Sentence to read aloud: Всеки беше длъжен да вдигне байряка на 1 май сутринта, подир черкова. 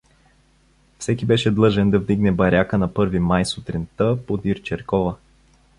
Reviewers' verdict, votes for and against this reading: rejected, 0, 2